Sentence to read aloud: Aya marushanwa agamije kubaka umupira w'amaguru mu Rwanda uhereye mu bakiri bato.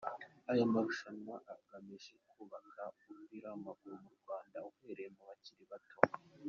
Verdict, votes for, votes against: accepted, 4, 0